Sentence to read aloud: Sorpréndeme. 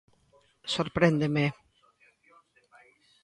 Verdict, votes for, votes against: rejected, 1, 2